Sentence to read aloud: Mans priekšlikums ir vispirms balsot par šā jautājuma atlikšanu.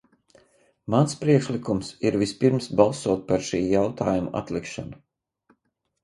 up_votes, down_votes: 0, 2